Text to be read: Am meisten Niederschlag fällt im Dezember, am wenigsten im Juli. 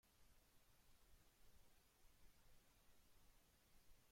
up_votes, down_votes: 0, 2